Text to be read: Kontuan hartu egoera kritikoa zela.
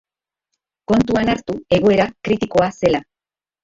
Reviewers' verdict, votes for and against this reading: accepted, 2, 0